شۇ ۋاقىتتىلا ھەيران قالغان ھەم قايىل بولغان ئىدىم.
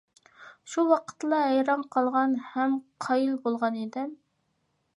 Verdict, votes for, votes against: accepted, 2, 0